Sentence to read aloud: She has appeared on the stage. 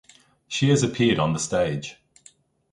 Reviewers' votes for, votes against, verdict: 2, 0, accepted